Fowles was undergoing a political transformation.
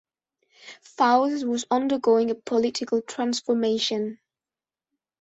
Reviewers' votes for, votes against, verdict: 2, 1, accepted